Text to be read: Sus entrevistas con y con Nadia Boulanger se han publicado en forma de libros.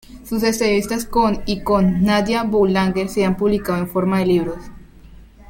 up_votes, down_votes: 1, 2